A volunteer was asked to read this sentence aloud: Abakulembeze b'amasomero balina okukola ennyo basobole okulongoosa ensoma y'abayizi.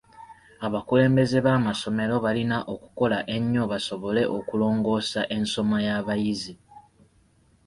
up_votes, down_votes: 3, 0